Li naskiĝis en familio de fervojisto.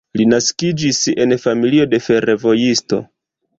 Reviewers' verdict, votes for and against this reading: accepted, 2, 1